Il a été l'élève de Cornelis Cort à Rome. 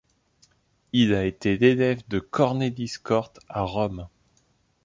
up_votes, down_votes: 2, 0